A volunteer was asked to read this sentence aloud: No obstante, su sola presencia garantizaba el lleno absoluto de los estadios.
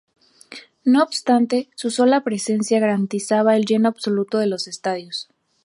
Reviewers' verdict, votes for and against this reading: accepted, 8, 0